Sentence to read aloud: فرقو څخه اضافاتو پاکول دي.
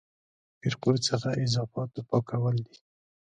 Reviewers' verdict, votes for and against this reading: rejected, 1, 2